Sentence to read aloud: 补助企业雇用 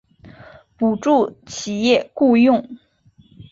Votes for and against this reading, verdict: 2, 0, accepted